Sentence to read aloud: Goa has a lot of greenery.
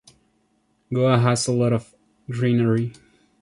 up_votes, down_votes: 2, 0